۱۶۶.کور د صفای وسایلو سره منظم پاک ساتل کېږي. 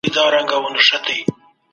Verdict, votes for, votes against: rejected, 0, 2